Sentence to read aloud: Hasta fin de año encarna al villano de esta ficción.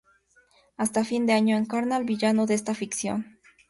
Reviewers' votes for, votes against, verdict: 2, 0, accepted